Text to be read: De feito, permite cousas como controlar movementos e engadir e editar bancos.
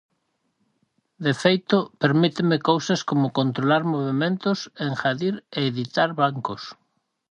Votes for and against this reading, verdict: 0, 4, rejected